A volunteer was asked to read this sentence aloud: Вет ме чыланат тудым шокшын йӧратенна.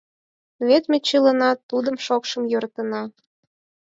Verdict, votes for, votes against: accepted, 4, 0